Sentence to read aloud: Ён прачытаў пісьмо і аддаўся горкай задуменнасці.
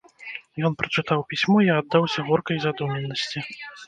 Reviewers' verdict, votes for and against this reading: rejected, 1, 2